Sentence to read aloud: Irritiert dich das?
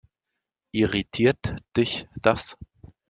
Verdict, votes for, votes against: accepted, 2, 0